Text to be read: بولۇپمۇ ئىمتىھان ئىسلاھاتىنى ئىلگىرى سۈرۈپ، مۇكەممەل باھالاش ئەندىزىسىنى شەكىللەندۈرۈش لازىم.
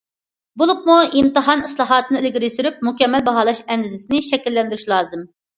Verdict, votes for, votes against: accepted, 2, 0